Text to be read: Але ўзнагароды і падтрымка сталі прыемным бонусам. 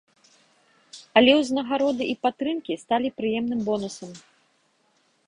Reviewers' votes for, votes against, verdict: 1, 2, rejected